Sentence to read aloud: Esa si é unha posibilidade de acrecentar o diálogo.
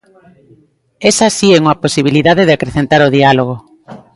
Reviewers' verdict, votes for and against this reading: rejected, 1, 2